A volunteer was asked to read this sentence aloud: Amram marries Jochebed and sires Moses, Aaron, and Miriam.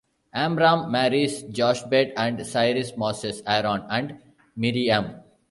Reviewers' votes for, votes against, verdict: 1, 2, rejected